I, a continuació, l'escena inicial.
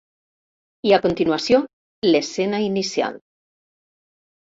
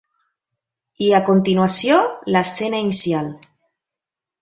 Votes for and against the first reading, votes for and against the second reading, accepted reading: 1, 2, 2, 0, second